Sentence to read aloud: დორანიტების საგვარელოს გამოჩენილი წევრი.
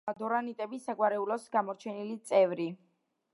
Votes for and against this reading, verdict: 1, 2, rejected